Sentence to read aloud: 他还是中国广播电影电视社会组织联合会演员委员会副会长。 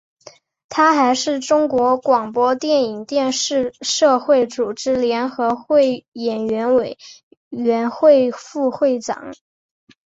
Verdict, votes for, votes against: accepted, 2, 0